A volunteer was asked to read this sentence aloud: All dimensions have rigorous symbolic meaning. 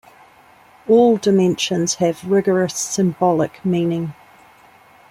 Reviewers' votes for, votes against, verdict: 2, 0, accepted